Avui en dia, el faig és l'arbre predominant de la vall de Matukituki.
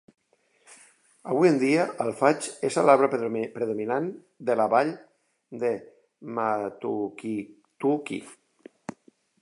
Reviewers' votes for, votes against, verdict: 0, 2, rejected